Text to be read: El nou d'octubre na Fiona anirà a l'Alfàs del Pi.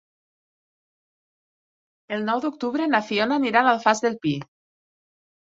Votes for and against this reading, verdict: 3, 0, accepted